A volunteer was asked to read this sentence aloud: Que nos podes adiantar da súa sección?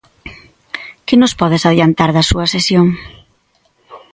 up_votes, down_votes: 1, 2